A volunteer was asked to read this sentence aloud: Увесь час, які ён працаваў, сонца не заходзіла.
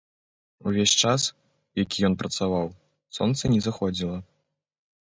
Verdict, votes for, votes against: accepted, 3, 0